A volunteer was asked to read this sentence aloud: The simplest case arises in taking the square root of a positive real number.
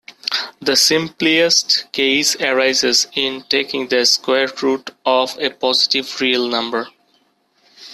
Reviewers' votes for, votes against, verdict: 1, 2, rejected